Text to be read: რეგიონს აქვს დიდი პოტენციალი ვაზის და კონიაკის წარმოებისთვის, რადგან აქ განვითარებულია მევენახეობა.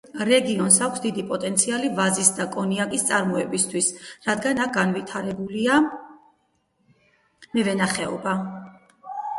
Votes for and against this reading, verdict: 0, 4, rejected